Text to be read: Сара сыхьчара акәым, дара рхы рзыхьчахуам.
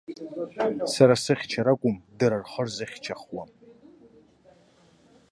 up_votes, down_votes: 0, 2